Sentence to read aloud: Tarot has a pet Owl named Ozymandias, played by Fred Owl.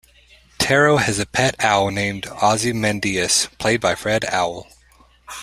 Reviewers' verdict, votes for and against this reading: accepted, 2, 0